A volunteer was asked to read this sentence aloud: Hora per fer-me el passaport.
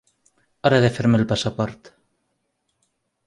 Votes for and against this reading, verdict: 0, 2, rejected